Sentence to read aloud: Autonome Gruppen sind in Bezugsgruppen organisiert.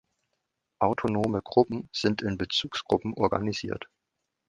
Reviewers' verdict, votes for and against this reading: accepted, 2, 0